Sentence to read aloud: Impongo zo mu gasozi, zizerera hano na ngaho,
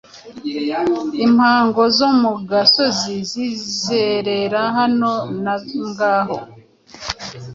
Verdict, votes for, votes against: accepted, 2, 0